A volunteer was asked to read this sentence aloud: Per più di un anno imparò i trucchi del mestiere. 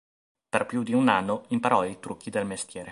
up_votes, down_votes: 1, 2